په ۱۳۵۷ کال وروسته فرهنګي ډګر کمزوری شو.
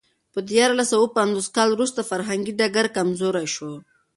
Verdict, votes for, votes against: rejected, 0, 2